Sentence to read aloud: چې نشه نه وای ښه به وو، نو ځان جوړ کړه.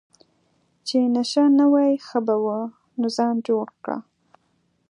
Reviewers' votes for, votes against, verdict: 2, 0, accepted